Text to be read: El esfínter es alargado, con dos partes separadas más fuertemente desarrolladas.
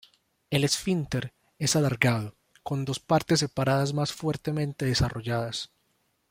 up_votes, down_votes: 1, 2